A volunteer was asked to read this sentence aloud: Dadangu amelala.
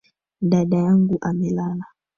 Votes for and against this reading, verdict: 2, 3, rejected